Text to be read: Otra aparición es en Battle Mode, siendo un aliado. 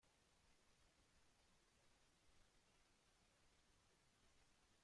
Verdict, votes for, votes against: rejected, 0, 3